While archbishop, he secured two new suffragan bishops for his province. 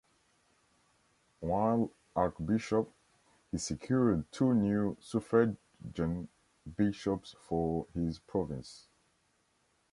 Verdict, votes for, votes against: rejected, 0, 2